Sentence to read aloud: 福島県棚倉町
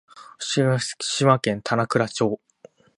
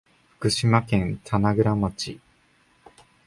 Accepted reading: second